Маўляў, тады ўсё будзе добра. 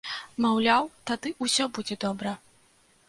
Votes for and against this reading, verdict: 2, 0, accepted